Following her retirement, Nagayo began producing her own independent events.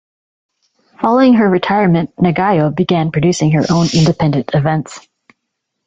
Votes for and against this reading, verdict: 1, 2, rejected